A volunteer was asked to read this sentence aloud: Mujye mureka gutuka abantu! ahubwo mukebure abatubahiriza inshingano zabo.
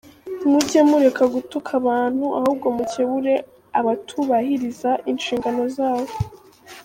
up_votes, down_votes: 2, 0